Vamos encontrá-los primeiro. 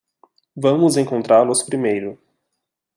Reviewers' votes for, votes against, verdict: 2, 0, accepted